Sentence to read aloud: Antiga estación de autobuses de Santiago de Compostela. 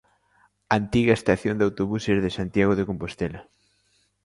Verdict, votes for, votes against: accepted, 2, 0